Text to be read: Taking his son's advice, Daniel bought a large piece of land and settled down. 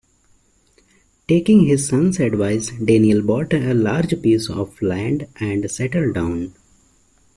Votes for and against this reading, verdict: 2, 0, accepted